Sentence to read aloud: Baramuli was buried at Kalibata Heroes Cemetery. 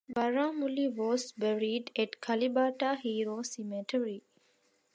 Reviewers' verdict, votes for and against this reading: accepted, 2, 1